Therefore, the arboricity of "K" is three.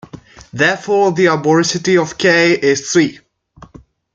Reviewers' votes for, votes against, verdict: 2, 1, accepted